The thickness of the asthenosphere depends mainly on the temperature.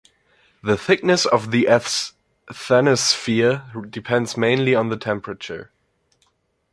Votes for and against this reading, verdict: 2, 0, accepted